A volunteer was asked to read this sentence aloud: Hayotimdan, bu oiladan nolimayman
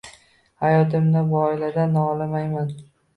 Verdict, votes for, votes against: accepted, 2, 0